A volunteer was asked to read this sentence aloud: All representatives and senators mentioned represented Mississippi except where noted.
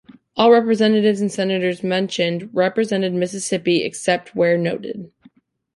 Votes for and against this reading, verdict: 3, 0, accepted